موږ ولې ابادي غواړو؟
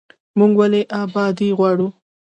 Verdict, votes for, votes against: accepted, 2, 0